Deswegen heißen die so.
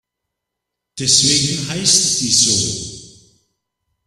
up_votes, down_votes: 0, 2